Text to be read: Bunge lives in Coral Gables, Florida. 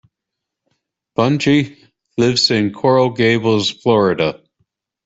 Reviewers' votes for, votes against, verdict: 2, 0, accepted